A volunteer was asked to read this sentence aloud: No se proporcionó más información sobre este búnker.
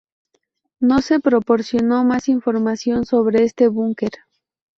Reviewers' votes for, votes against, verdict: 2, 0, accepted